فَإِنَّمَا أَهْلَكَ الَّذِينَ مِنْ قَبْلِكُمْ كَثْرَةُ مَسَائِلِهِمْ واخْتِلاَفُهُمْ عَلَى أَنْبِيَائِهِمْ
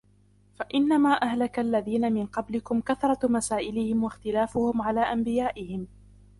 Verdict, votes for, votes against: accepted, 2, 0